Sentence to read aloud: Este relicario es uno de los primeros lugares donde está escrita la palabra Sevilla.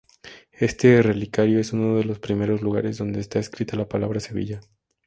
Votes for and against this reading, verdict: 2, 0, accepted